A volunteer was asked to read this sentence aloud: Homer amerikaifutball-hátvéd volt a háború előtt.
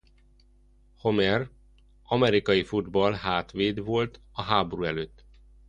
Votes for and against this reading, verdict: 2, 0, accepted